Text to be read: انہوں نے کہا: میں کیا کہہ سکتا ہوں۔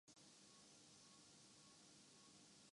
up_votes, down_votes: 0, 2